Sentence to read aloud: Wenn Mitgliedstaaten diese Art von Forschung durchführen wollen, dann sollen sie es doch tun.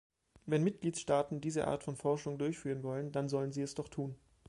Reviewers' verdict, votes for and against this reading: accepted, 2, 0